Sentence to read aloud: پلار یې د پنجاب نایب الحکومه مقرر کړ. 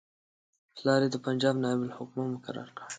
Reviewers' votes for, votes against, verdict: 2, 0, accepted